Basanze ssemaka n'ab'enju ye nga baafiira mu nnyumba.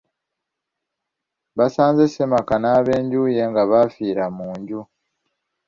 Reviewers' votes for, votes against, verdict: 0, 2, rejected